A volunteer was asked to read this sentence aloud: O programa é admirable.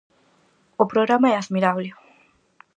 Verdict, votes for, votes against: accepted, 4, 0